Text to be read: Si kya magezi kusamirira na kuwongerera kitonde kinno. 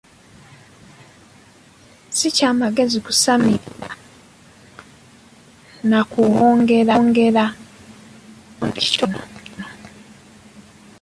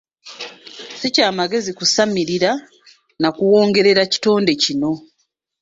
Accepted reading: second